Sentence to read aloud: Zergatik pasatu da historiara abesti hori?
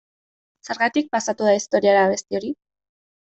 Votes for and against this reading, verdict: 1, 2, rejected